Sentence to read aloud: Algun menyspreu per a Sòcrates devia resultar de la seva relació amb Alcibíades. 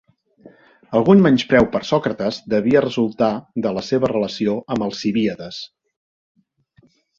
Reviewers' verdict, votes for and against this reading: accepted, 2, 1